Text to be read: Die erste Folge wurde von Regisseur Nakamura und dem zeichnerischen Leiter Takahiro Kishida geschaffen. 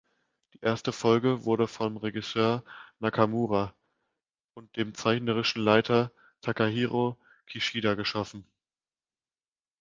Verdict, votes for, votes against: accepted, 2, 0